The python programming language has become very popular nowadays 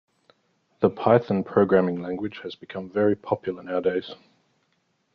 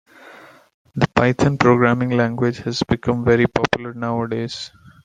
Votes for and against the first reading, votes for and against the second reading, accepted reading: 2, 0, 1, 2, first